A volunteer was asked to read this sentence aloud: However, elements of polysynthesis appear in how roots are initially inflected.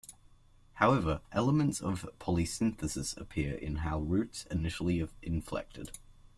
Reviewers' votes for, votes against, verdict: 1, 2, rejected